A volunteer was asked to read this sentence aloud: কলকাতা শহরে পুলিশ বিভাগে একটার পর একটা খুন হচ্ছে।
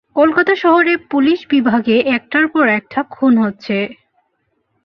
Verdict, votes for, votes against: accepted, 8, 1